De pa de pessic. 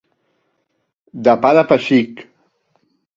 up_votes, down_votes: 2, 0